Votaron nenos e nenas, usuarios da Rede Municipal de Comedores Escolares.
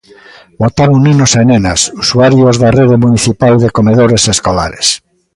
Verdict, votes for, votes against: accepted, 2, 0